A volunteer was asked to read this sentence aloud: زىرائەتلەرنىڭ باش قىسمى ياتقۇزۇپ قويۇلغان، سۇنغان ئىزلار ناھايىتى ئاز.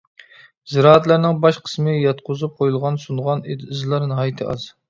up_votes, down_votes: 1, 2